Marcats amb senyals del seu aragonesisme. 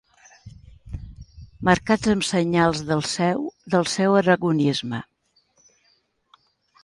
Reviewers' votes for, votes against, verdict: 1, 2, rejected